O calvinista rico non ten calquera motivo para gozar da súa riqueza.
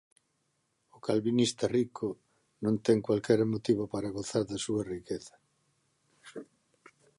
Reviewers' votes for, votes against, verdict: 0, 2, rejected